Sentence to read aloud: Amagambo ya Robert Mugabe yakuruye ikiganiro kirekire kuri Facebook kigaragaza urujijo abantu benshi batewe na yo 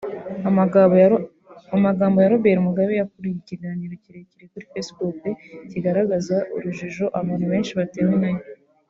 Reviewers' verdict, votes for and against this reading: rejected, 0, 2